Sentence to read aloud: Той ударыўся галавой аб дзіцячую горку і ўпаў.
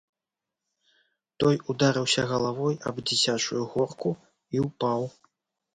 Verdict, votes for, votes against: accepted, 2, 0